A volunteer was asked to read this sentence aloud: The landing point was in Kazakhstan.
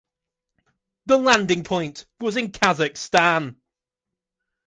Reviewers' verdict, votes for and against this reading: accepted, 2, 0